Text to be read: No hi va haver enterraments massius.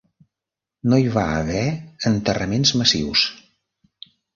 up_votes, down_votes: 3, 0